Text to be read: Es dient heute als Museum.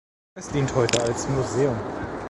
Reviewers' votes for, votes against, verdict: 1, 2, rejected